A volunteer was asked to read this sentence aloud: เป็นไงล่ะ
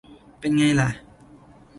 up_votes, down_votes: 2, 0